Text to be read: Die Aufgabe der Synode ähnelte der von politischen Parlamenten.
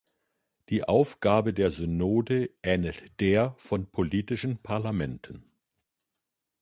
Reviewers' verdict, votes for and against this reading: rejected, 0, 2